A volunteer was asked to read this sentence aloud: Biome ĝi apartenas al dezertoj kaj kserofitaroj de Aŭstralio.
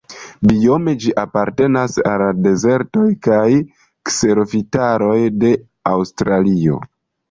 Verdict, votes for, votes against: rejected, 1, 2